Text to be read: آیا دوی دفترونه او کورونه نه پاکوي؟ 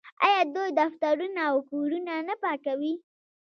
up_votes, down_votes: 2, 0